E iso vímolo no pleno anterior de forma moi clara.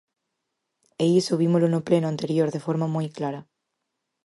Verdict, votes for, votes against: accepted, 4, 0